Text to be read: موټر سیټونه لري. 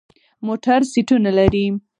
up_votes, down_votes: 4, 0